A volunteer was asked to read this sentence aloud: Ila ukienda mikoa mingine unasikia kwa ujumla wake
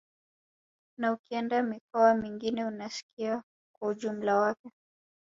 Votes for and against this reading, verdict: 2, 1, accepted